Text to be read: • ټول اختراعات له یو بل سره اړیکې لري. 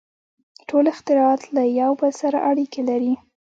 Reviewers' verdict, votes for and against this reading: rejected, 0, 2